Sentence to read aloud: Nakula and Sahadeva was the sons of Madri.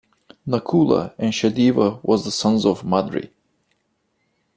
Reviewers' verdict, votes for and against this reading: accepted, 2, 0